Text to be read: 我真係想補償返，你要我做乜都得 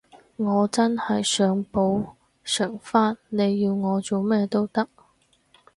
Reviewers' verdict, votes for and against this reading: rejected, 2, 4